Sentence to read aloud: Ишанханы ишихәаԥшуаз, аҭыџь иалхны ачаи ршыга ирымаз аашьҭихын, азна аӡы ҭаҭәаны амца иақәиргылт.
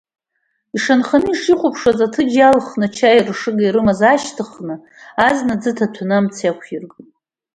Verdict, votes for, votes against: rejected, 0, 2